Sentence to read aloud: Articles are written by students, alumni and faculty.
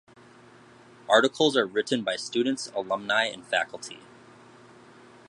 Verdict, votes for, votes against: accepted, 2, 0